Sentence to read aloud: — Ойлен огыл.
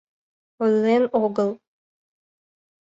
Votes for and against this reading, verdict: 2, 0, accepted